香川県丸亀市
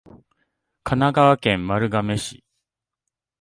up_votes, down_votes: 0, 2